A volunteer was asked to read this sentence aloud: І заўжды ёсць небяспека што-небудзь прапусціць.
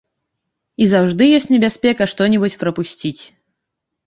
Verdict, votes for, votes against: rejected, 0, 2